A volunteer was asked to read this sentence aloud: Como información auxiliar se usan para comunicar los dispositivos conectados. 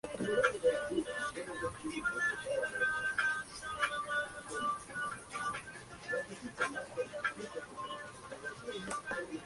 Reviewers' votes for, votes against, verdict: 0, 2, rejected